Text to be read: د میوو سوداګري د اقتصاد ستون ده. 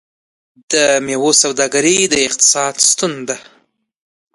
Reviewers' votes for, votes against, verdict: 2, 1, accepted